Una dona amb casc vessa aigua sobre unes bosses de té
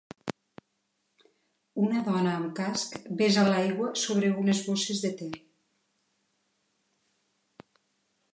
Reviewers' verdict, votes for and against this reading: rejected, 1, 2